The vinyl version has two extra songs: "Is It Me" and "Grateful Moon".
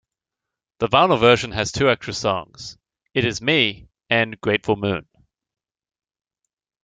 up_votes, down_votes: 0, 2